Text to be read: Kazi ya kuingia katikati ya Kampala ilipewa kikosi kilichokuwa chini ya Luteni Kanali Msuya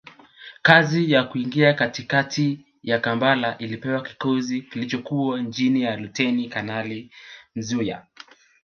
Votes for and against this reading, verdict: 2, 1, accepted